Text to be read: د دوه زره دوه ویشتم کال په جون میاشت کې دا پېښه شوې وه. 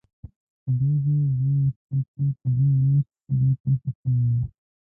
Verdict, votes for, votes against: rejected, 0, 2